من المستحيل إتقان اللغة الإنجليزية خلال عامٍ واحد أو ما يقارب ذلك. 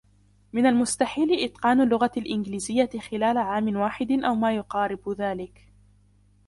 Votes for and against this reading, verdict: 2, 1, accepted